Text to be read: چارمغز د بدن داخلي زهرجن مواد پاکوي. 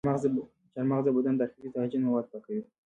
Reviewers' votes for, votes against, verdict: 0, 2, rejected